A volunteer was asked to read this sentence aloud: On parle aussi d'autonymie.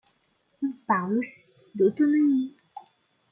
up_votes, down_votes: 0, 2